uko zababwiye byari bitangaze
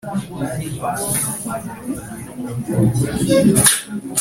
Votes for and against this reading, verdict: 1, 2, rejected